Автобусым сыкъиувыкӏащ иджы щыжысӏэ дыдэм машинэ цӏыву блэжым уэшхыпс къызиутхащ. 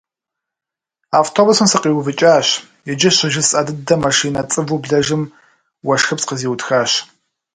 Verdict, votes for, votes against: accepted, 2, 0